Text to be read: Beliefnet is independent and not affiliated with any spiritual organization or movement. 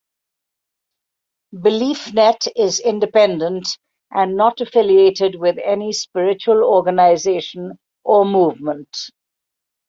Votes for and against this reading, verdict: 2, 0, accepted